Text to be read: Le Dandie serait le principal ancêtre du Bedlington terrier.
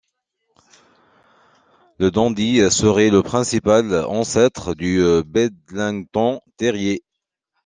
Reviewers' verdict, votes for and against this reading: rejected, 1, 2